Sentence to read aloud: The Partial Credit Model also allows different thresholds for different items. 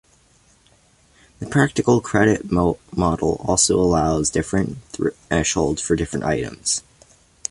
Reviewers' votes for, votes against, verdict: 1, 2, rejected